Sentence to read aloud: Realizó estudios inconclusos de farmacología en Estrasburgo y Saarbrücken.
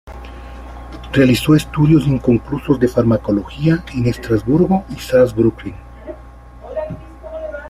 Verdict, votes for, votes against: accepted, 2, 1